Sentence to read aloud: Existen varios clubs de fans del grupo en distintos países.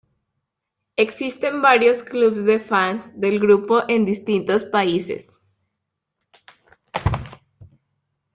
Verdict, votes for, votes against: rejected, 1, 2